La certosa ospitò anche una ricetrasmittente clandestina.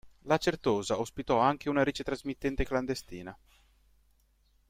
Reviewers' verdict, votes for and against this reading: accepted, 2, 0